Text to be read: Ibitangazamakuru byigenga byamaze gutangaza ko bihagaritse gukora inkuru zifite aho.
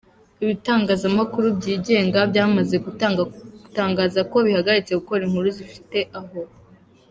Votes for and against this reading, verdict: 0, 2, rejected